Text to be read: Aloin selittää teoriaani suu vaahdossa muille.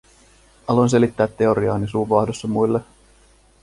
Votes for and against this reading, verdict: 2, 0, accepted